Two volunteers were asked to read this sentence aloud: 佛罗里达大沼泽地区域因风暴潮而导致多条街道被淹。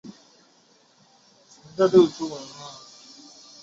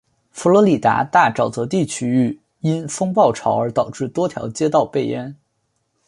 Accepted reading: second